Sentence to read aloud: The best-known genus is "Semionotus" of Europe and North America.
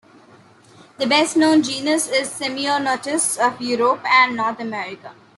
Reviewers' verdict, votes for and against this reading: accepted, 2, 0